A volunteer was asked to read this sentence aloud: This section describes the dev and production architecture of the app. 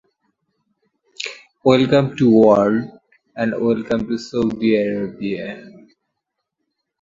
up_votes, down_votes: 0, 2